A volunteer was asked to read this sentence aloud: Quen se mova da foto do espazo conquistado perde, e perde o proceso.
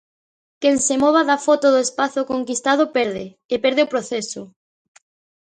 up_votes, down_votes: 2, 0